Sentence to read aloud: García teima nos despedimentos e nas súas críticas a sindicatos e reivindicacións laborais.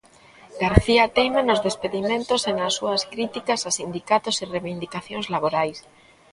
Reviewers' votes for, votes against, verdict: 3, 0, accepted